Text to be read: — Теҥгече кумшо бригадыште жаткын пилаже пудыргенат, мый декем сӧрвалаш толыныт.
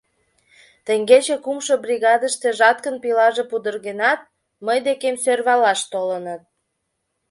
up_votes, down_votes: 2, 0